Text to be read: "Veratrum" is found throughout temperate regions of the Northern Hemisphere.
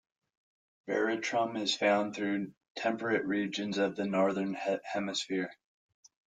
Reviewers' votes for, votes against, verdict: 2, 0, accepted